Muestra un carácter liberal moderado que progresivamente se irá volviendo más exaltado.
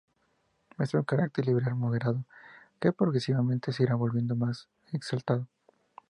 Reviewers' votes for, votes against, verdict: 2, 0, accepted